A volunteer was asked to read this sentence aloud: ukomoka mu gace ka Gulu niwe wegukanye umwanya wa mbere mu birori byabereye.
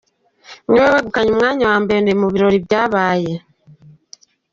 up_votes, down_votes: 0, 2